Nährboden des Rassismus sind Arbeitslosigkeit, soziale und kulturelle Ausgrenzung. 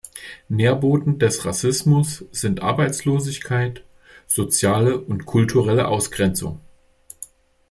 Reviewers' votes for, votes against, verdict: 2, 0, accepted